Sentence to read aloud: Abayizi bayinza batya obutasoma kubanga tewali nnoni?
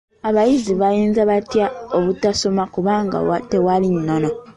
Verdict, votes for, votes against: rejected, 1, 2